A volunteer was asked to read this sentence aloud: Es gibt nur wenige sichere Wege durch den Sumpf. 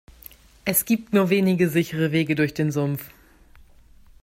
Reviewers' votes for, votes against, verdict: 2, 0, accepted